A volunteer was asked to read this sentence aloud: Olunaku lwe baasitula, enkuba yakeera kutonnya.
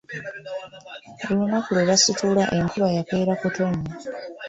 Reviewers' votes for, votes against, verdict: 1, 2, rejected